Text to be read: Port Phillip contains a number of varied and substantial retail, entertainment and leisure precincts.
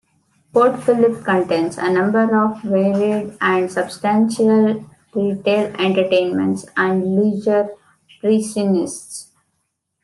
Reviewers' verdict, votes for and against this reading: rejected, 1, 2